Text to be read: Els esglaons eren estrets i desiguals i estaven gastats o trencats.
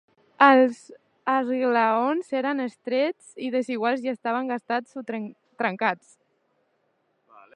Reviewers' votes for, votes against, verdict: 0, 2, rejected